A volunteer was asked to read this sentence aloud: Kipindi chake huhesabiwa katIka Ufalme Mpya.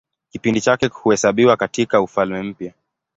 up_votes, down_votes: 2, 2